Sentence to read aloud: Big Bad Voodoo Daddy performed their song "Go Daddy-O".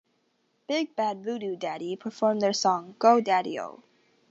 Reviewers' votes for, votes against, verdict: 2, 0, accepted